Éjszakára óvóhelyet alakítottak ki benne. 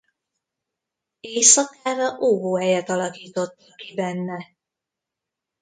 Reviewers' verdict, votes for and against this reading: rejected, 1, 2